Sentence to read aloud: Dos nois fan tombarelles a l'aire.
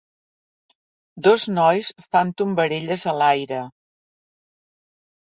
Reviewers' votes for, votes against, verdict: 2, 0, accepted